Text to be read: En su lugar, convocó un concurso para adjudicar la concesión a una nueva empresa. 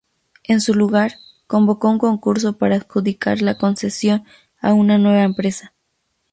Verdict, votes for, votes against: accepted, 8, 0